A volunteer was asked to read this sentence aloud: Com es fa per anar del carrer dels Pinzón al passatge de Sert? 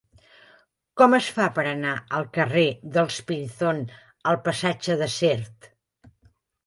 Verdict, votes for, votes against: accepted, 3, 1